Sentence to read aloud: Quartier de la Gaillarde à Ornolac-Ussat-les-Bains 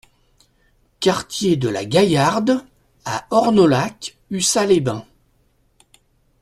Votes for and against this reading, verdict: 2, 0, accepted